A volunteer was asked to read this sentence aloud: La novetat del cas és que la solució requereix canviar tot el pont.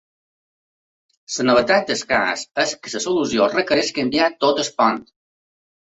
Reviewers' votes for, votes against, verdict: 2, 1, accepted